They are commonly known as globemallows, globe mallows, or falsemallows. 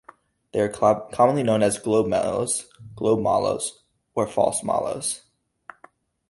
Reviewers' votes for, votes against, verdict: 0, 2, rejected